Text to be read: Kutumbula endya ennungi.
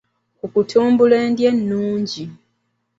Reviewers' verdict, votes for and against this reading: rejected, 0, 2